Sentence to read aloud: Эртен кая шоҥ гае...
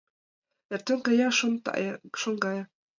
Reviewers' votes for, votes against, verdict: 0, 2, rejected